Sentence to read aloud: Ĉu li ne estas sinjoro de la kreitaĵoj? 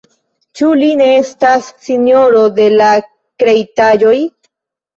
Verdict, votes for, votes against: accepted, 2, 0